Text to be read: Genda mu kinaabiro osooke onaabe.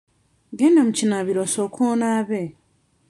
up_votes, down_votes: 2, 0